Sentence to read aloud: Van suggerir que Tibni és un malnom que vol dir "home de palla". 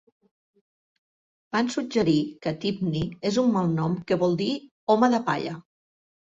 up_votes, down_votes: 2, 0